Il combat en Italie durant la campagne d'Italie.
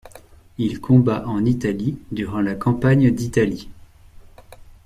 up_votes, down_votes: 2, 0